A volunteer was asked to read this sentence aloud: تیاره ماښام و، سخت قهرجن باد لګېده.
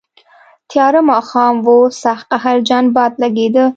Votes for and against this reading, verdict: 2, 0, accepted